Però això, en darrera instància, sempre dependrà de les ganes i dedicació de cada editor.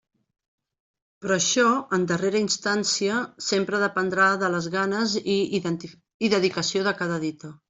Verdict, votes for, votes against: rejected, 0, 2